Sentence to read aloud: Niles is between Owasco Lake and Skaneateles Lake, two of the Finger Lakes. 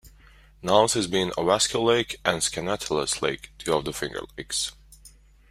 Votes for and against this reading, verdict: 0, 3, rejected